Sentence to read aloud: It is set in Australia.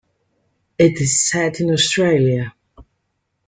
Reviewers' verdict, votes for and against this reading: accepted, 2, 0